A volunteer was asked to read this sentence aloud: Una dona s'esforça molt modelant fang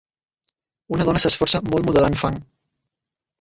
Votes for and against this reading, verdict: 0, 3, rejected